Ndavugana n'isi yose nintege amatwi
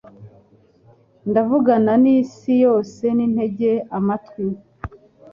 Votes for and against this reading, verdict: 2, 0, accepted